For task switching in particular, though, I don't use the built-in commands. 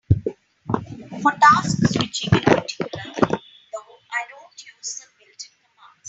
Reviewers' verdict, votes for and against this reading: rejected, 0, 3